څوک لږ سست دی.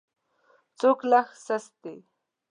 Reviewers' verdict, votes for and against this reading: rejected, 0, 2